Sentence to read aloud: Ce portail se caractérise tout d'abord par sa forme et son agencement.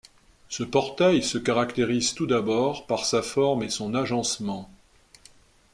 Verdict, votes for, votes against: accepted, 2, 0